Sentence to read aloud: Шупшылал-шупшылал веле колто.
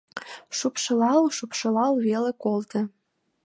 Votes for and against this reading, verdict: 2, 0, accepted